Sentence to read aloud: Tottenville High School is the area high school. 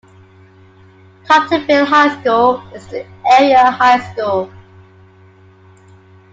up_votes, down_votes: 0, 2